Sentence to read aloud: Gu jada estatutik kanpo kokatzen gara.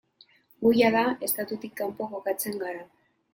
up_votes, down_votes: 2, 0